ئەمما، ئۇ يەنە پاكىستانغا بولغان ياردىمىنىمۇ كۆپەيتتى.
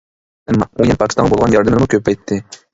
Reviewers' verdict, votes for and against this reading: rejected, 1, 2